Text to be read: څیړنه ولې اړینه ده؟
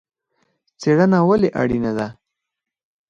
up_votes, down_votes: 4, 2